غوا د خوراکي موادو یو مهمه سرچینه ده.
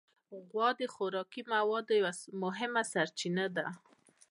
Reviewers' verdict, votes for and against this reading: accepted, 2, 0